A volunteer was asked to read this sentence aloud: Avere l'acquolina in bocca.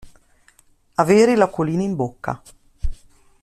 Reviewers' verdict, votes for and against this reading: accepted, 2, 0